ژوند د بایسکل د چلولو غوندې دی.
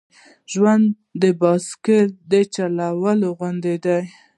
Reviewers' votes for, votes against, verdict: 2, 0, accepted